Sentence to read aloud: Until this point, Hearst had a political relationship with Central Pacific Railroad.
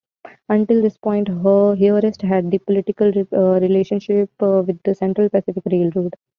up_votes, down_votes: 0, 2